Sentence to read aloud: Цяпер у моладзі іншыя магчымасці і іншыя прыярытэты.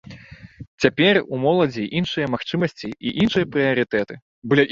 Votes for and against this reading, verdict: 1, 2, rejected